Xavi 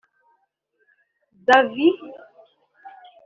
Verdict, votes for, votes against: rejected, 2, 3